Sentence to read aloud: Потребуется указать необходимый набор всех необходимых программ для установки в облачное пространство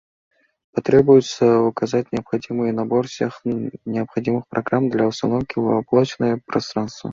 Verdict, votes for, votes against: accepted, 2, 0